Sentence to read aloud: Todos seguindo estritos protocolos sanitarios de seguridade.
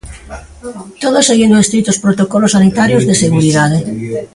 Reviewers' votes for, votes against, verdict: 1, 2, rejected